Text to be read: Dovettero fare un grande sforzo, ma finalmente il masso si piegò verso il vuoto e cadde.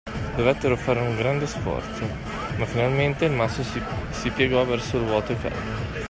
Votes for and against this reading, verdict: 1, 2, rejected